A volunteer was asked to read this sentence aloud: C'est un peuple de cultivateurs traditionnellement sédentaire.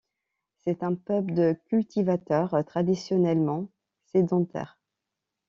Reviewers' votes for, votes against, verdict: 2, 0, accepted